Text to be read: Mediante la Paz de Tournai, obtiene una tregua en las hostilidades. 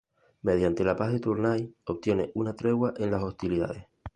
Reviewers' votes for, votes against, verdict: 2, 0, accepted